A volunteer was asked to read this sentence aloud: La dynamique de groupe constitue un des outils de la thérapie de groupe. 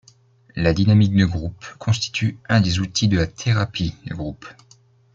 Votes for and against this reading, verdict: 2, 0, accepted